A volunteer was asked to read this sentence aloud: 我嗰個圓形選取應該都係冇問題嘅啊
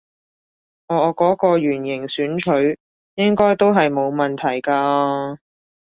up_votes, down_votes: 2, 0